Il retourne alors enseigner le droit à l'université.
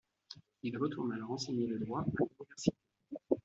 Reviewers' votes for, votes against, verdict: 0, 2, rejected